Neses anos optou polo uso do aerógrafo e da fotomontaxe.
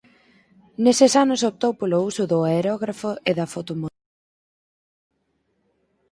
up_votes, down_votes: 0, 4